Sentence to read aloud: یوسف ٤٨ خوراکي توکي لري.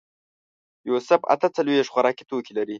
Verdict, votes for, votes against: rejected, 0, 2